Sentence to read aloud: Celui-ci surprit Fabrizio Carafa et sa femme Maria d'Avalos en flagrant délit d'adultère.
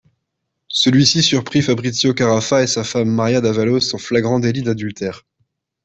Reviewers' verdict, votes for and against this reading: accepted, 2, 0